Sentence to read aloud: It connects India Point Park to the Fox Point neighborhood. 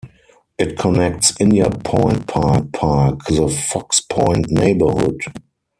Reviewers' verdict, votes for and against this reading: rejected, 2, 4